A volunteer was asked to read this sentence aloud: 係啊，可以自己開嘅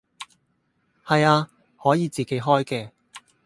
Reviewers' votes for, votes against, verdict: 4, 0, accepted